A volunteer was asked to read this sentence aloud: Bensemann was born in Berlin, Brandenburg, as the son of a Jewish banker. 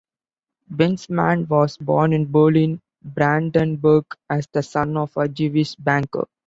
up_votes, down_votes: 2, 1